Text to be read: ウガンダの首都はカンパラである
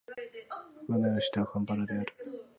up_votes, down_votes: 1, 2